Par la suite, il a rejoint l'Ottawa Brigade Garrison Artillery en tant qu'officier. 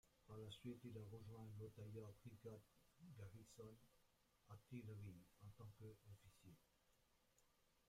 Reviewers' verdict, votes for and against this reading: rejected, 0, 2